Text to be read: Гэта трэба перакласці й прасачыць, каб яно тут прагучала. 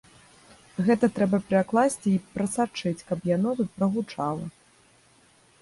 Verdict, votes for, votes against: rejected, 1, 2